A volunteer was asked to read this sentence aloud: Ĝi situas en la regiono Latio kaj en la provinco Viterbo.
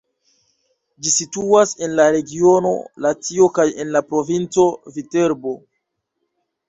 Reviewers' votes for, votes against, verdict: 2, 0, accepted